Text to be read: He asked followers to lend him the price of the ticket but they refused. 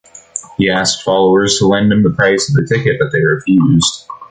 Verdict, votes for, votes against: accepted, 2, 0